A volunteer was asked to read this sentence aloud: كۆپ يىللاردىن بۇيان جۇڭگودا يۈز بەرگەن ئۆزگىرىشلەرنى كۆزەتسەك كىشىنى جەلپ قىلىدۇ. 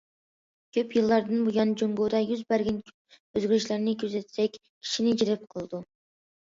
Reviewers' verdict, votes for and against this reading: accepted, 2, 0